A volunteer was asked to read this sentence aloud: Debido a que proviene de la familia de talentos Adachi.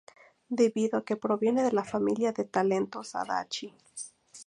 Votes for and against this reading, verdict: 2, 0, accepted